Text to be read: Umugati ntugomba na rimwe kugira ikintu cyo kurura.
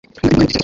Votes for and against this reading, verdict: 1, 2, rejected